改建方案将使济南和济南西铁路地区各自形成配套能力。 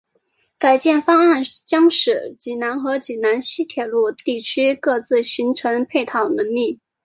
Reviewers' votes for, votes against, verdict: 2, 0, accepted